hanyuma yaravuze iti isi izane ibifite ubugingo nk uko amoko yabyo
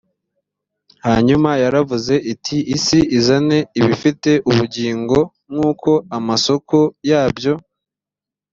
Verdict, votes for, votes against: rejected, 0, 3